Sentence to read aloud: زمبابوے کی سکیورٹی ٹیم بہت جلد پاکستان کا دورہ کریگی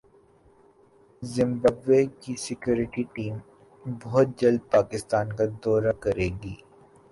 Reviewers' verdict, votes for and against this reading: rejected, 2, 3